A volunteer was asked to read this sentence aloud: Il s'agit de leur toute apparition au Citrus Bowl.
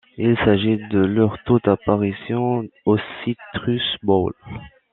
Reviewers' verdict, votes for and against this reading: rejected, 1, 2